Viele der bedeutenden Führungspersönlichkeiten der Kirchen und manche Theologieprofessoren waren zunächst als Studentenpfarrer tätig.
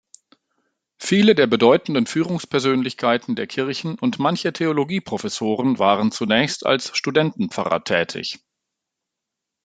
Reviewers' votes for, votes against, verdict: 2, 0, accepted